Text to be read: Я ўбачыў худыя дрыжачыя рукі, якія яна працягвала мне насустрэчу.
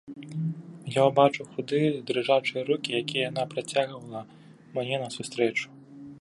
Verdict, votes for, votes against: accepted, 3, 0